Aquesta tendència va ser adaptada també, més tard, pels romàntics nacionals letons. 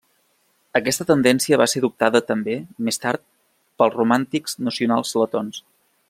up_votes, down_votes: 0, 2